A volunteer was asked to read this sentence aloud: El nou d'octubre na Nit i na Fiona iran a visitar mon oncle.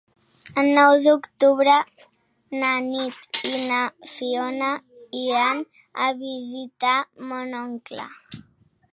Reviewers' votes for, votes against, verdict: 3, 0, accepted